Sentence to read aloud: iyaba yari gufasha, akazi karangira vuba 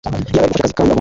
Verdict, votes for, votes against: rejected, 0, 2